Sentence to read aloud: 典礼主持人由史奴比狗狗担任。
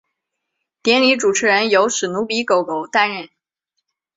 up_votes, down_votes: 2, 0